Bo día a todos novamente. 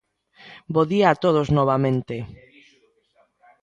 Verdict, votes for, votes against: accepted, 2, 0